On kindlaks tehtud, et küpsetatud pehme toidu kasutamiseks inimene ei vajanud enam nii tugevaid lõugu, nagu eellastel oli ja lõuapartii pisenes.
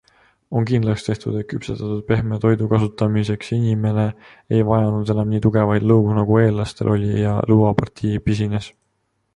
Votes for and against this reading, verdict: 0, 2, rejected